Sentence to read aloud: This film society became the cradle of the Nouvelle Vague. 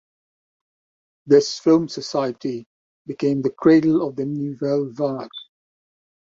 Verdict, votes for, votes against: accepted, 2, 1